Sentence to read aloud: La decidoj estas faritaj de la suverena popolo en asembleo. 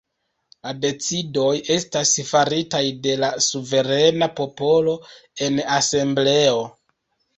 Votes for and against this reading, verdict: 0, 2, rejected